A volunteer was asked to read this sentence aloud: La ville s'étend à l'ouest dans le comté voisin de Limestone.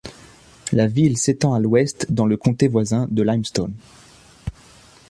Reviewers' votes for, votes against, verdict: 2, 0, accepted